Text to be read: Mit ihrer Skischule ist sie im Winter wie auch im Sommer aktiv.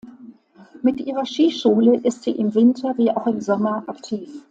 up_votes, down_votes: 2, 0